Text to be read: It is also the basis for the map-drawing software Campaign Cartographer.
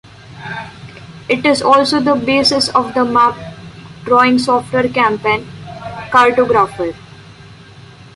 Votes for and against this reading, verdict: 0, 2, rejected